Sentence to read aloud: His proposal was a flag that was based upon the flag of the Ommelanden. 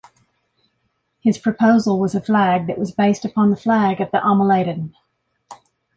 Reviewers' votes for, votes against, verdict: 2, 0, accepted